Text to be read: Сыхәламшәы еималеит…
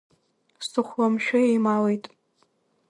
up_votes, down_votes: 1, 2